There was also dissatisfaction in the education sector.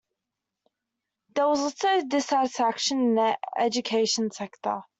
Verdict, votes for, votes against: rejected, 1, 2